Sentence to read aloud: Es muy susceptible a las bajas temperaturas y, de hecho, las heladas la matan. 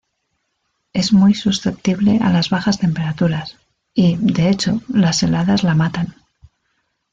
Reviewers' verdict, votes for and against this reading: rejected, 1, 2